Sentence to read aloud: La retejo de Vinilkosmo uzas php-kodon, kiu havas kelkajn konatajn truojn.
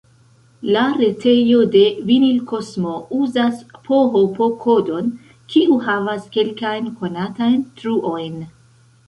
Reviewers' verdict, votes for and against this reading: accepted, 2, 1